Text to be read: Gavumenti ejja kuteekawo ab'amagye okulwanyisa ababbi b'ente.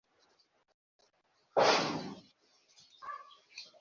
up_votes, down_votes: 1, 2